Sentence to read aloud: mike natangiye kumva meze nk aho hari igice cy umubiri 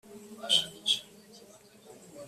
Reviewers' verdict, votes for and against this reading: rejected, 0, 2